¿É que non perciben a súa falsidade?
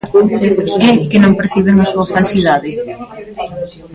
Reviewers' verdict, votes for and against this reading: rejected, 0, 2